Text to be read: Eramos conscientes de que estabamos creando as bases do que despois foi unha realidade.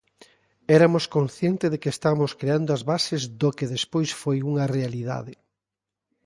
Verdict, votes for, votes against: rejected, 0, 2